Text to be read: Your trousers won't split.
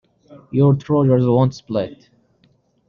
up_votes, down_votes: 1, 2